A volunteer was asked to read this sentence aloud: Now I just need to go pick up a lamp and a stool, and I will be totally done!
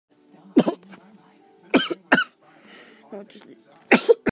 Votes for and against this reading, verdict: 0, 3, rejected